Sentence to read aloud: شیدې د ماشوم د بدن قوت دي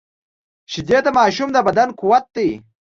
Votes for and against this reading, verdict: 2, 0, accepted